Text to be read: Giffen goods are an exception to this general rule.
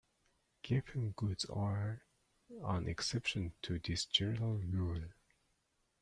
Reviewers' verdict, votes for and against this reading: accepted, 2, 0